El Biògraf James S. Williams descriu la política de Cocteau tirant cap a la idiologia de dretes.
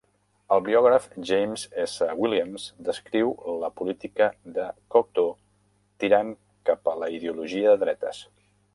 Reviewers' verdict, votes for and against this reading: rejected, 0, 2